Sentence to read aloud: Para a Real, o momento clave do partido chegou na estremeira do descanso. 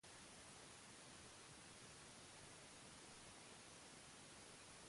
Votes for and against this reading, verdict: 0, 2, rejected